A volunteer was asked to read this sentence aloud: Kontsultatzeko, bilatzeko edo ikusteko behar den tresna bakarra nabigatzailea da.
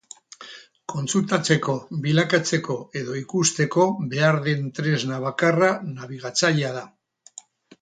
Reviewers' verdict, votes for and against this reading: rejected, 2, 2